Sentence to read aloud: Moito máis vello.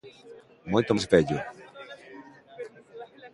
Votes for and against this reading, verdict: 1, 2, rejected